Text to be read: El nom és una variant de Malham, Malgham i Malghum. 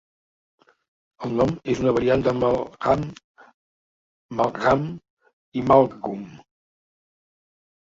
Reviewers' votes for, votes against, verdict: 1, 2, rejected